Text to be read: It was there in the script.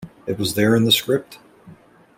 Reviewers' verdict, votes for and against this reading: accepted, 2, 0